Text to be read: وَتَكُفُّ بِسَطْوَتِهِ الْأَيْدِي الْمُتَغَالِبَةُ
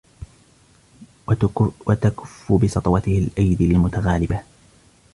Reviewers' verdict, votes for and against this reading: rejected, 0, 2